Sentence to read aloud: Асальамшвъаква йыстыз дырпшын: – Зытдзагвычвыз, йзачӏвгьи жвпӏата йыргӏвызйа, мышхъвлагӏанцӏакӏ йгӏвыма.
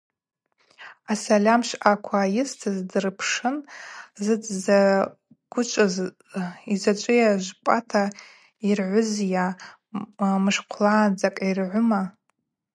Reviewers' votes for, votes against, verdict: 4, 2, accepted